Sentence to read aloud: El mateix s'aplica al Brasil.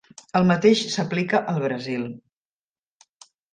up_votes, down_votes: 3, 0